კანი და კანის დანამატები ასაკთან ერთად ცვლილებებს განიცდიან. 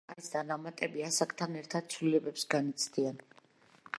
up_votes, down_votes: 0, 2